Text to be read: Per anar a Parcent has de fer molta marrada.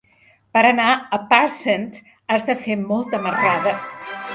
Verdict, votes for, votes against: rejected, 1, 2